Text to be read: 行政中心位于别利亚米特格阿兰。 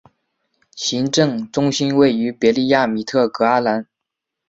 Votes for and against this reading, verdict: 9, 0, accepted